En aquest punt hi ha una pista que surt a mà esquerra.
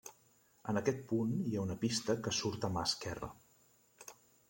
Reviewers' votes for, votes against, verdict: 3, 0, accepted